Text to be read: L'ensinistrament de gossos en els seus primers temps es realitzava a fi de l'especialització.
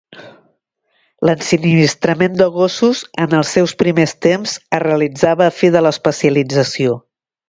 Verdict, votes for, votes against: accepted, 2, 0